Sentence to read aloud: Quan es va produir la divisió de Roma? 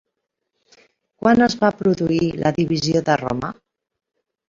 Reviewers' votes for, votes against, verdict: 3, 0, accepted